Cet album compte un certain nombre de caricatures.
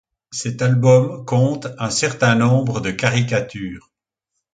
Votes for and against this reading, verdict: 2, 0, accepted